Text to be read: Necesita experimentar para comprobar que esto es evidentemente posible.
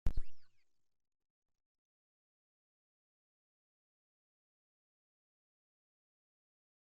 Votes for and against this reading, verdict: 0, 2, rejected